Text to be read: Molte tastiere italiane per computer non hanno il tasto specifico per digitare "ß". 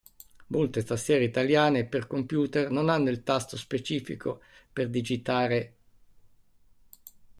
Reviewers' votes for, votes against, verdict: 1, 2, rejected